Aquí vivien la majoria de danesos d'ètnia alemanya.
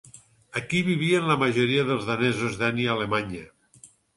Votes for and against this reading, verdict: 2, 4, rejected